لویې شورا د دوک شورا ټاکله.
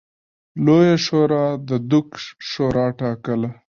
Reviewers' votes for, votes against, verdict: 3, 1, accepted